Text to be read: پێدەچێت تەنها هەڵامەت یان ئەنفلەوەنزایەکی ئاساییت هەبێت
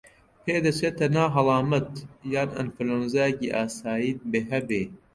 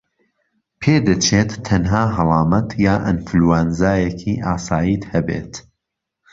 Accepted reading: second